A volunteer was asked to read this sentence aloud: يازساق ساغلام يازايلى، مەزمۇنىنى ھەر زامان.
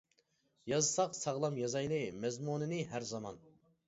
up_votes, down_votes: 2, 0